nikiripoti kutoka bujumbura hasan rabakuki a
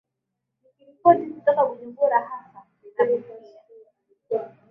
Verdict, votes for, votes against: accepted, 5, 3